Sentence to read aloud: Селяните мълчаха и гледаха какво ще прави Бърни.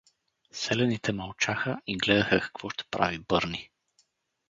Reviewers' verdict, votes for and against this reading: accepted, 4, 0